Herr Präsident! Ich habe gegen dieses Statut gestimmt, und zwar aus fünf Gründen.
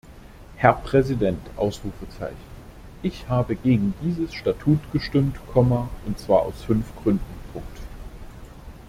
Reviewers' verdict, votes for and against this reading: rejected, 0, 2